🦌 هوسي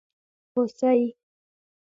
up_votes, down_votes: 2, 0